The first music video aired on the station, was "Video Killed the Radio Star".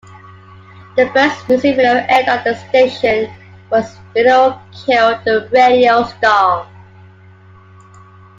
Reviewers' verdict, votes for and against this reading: accepted, 2, 1